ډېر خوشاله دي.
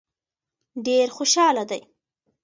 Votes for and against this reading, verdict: 2, 1, accepted